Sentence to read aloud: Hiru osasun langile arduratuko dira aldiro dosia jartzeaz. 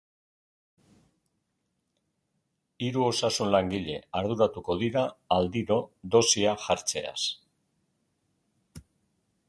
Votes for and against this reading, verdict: 2, 0, accepted